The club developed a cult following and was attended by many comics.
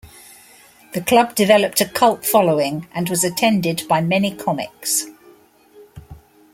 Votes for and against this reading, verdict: 2, 1, accepted